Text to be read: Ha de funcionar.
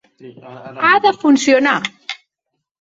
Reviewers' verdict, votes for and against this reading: accepted, 4, 0